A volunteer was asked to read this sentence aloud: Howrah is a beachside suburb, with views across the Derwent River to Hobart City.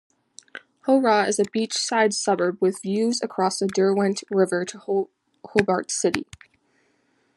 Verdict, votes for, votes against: rejected, 1, 2